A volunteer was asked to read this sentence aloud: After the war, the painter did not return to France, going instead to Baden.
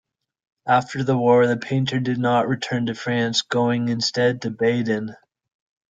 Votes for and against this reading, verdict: 2, 0, accepted